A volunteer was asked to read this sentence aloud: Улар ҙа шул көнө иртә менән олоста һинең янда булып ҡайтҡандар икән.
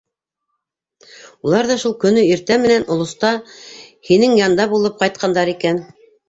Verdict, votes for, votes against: accepted, 2, 0